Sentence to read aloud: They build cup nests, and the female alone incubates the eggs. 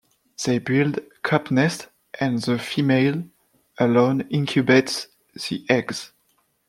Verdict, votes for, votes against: accepted, 2, 1